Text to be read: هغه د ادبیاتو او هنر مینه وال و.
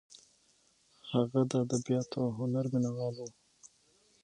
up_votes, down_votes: 6, 3